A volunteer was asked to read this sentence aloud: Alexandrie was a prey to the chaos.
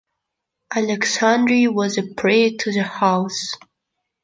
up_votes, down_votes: 0, 2